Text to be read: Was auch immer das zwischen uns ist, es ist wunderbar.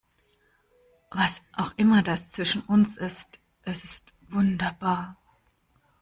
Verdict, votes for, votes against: accepted, 2, 1